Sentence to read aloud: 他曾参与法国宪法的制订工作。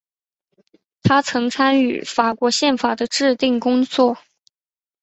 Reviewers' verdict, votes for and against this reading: accepted, 6, 0